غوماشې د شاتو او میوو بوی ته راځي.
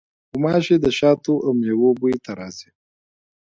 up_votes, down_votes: 2, 0